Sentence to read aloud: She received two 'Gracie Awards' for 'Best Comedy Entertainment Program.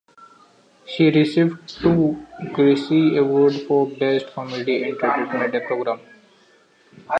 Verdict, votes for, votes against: rejected, 0, 2